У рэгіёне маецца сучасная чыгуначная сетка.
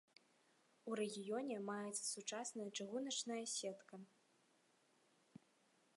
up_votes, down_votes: 2, 0